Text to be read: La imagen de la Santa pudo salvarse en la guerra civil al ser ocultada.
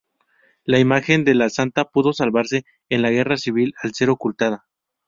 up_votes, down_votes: 2, 0